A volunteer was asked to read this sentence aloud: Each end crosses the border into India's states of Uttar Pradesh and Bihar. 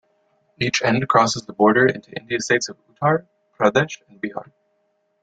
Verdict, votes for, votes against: rejected, 1, 2